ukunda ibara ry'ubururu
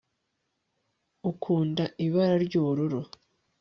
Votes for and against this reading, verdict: 3, 0, accepted